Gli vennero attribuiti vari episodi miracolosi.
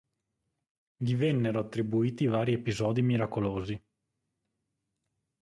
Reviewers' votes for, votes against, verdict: 4, 0, accepted